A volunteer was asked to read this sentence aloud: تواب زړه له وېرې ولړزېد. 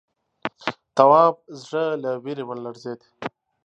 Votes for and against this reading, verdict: 3, 0, accepted